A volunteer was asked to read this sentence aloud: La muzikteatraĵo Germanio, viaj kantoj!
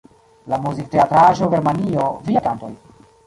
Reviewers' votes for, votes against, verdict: 0, 2, rejected